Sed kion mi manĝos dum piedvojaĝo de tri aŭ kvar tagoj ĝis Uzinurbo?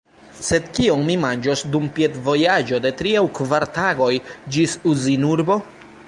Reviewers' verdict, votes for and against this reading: rejected, 0, 2